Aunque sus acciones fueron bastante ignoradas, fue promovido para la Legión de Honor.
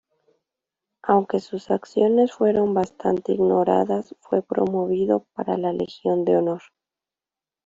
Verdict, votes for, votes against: accepted, 2, 0